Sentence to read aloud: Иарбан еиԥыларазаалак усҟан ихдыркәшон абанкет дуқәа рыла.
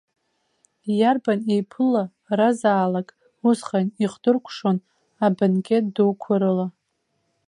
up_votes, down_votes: 2, 1